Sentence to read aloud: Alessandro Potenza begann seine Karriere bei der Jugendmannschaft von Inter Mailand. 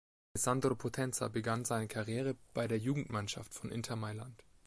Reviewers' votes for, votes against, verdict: 2, 0, accepted